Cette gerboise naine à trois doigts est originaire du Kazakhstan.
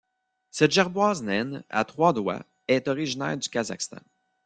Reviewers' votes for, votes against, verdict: 3, 1, accepted